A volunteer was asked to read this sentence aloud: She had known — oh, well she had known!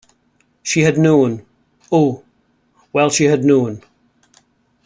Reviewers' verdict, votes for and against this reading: rejected, 1, 2